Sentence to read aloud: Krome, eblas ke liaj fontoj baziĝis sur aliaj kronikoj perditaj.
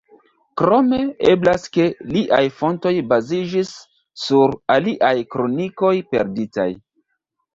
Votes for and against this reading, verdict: 0, 2, rejected